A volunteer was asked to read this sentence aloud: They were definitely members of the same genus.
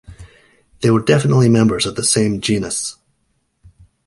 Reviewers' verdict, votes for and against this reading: accepted, 2, 0